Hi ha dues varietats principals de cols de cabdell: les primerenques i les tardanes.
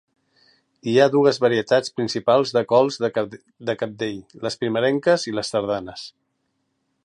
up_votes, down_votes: 0, 4